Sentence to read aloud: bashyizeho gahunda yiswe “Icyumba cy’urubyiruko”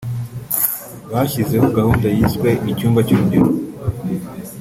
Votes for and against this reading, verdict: 2, 1, accepted